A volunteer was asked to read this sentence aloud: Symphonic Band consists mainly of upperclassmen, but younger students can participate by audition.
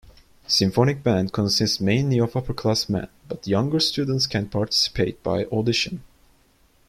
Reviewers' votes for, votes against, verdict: 2, 0, accepted